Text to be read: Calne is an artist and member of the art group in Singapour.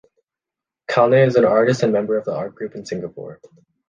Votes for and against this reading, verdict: 2, 0, accepted